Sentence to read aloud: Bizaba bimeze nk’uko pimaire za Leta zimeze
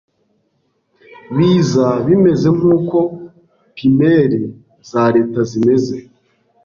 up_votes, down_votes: 0, 2